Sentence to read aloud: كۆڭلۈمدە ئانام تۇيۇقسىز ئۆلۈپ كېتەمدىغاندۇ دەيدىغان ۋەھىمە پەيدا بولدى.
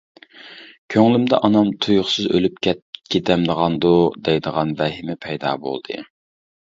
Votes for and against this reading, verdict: 1, 2, rejected